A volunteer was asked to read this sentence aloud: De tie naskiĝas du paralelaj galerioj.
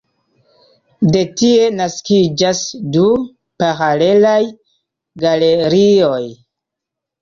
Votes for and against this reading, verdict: 2, 1, accepted